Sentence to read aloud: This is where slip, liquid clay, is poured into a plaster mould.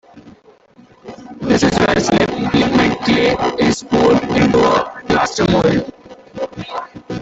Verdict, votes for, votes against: rejected, 0, 2